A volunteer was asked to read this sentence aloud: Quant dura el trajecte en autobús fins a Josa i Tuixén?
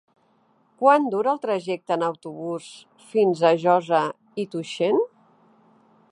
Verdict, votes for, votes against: accepted, 2, 1